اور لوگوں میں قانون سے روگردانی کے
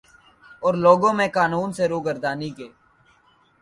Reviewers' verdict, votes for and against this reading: accepted, 2, 0